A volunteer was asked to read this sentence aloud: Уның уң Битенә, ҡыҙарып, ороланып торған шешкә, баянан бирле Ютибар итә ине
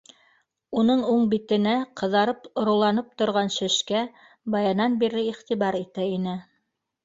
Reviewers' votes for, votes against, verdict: 2, 0, accepted